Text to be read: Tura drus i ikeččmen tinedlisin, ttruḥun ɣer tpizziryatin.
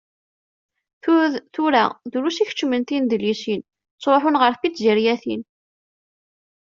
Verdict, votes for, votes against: rejected, 0, 2